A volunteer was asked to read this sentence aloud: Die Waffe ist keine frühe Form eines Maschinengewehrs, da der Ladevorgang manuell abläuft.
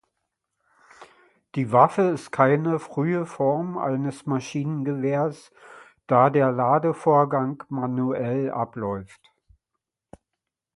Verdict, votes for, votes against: accepted, 2, 0